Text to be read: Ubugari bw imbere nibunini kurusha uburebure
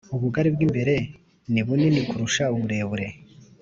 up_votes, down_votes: 2, 0